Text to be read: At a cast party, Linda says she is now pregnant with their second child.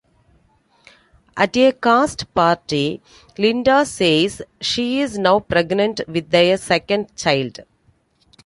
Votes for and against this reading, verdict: 2, 1, accepted